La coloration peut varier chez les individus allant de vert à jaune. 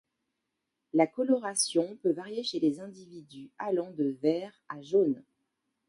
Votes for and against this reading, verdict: 2, 0, accepted